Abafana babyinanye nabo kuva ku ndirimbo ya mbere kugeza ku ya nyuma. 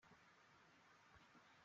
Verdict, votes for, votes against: rejected, 0, 2